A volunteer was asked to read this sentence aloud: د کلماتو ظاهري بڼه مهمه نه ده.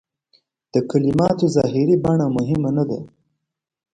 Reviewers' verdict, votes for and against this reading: accepted, 2, 0